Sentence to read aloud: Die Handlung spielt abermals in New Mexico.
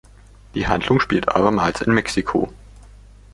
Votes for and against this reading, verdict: 0, 2, rejected